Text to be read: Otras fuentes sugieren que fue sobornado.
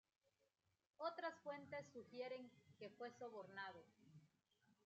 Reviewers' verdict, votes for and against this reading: accepted, 2, 0